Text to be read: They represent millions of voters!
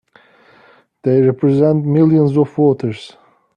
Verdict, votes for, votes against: accepted, 2, 0